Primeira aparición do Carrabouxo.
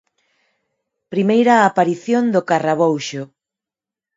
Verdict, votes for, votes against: accepted, 4, 0